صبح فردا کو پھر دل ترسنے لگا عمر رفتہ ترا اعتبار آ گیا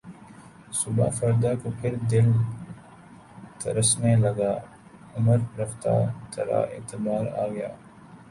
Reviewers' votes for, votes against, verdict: 2, 1, accepted